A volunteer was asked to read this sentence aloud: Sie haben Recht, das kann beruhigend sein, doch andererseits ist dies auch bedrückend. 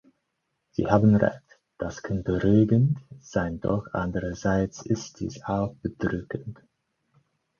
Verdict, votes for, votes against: rejected, 0, 4